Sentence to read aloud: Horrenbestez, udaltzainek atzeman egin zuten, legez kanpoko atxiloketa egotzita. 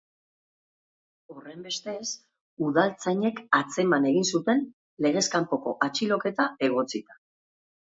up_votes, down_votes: 2, 0